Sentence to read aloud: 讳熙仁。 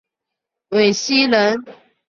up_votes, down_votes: 0, 2